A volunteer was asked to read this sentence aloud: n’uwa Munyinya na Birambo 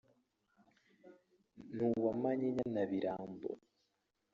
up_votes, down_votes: 1, 3